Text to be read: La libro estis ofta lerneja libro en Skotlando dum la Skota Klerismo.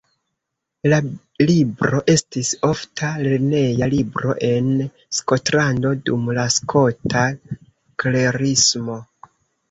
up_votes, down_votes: 1, 2